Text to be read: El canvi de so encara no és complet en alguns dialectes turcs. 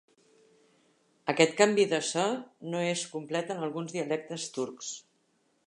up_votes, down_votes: 0, 2